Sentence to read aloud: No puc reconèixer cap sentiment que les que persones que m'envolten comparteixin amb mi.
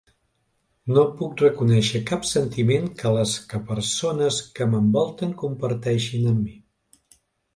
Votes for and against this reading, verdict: 2, 0, accepted